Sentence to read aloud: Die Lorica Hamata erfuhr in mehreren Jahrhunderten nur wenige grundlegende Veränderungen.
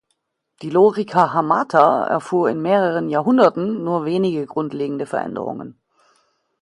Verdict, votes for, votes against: accepted, 2, 0